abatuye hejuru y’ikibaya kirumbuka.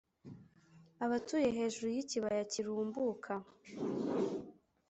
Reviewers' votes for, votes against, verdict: 2, 0, accepted